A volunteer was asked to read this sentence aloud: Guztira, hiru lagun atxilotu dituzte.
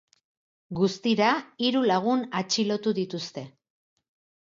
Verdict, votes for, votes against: accepted, 6, 0